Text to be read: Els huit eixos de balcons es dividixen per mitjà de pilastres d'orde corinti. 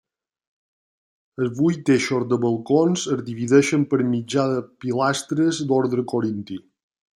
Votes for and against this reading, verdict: 2, 1, accepted